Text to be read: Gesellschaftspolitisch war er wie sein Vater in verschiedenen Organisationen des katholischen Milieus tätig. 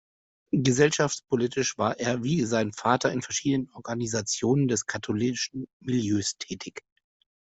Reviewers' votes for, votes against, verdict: 2, 0, accepted